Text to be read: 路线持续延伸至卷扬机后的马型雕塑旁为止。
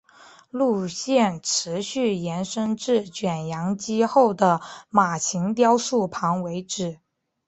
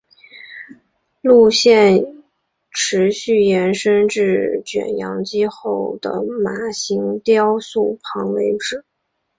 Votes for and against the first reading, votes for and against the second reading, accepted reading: 5, 0, 2, 2, first